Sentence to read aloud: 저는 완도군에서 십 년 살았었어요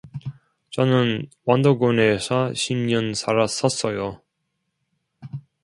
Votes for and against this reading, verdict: 2, 0, accepted